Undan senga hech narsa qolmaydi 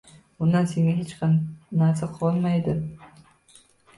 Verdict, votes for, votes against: rejected, 0, 2